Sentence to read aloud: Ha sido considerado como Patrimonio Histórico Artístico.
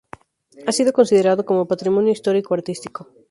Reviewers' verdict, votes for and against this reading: accepted, 6, 0